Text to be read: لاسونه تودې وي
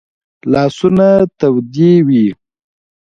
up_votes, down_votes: 2, 1